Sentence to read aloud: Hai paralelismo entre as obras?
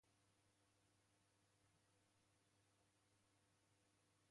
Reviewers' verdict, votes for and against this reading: rejected, 0, 2